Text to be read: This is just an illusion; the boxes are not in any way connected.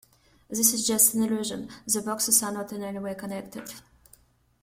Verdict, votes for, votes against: accepted, 2, 1